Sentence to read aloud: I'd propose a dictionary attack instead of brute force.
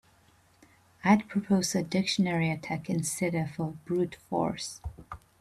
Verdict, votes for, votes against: rejected, 1, 2